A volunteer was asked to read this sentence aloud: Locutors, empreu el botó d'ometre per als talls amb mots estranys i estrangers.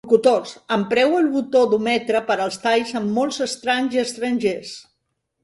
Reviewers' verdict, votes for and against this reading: rejected, 1, 4